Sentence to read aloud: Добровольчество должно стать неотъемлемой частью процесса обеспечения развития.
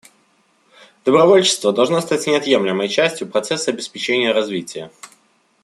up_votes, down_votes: 2, 0